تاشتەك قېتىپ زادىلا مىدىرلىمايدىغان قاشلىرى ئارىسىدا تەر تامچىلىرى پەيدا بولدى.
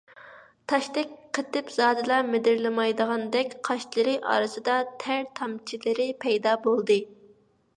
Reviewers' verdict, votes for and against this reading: rejected, 1, 2